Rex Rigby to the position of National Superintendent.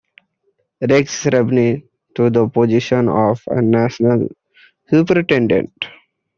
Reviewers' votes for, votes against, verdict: 1, 2, rejected